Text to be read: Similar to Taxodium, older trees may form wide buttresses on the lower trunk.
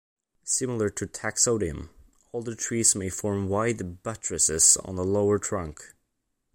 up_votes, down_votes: 2, 0